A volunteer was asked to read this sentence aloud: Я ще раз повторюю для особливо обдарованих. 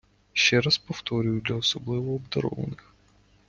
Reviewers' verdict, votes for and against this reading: rejected, 0, 2